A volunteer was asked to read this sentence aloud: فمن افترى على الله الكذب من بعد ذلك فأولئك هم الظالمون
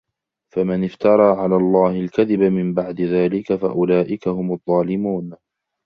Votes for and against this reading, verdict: 2, 1, accepted